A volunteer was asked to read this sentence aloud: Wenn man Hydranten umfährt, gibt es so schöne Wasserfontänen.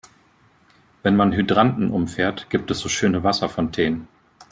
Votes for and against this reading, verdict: 2, 0, accepted